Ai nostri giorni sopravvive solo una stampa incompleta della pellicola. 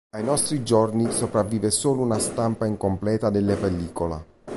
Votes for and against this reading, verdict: 0, 2, rejected